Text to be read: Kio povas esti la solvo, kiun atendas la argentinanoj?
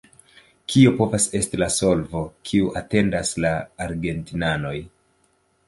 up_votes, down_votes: 1, 2